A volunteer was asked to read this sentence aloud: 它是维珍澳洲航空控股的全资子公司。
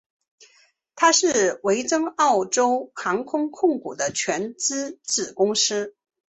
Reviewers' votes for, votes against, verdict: 2, 0, accepted